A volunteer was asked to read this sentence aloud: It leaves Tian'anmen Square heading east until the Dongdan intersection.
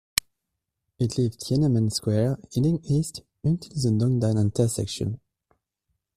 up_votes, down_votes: 1, 2